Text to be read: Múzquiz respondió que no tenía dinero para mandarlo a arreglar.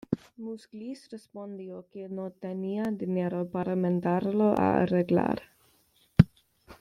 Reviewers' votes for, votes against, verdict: 2, 0, accepted